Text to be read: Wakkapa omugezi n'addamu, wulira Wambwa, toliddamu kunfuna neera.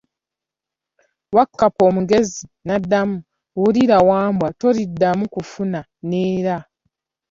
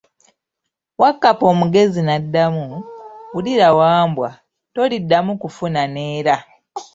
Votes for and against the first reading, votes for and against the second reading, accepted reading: 0, 2, 2, 1, second